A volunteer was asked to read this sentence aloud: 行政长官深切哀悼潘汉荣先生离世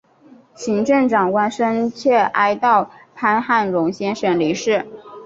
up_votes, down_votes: 2, 0